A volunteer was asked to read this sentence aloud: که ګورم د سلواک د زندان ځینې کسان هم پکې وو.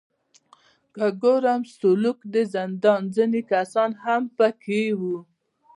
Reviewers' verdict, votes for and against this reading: rejected, 1, 2